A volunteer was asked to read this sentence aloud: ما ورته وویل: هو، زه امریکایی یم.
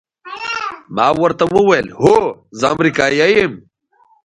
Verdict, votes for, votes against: rejected, 1, 2